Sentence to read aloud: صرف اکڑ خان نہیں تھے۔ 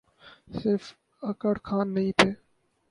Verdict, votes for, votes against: rejected, 0, 2